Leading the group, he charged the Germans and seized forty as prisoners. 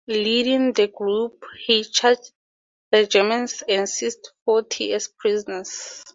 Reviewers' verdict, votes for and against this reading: rejected, 0, 2